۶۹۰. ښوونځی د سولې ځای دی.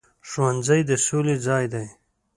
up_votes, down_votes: 0, 2